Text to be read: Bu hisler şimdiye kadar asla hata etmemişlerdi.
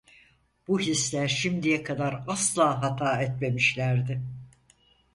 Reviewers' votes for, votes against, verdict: 4, 0, accepted